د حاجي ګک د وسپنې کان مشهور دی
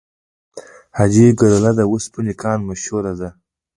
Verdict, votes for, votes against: rejected, 1, 2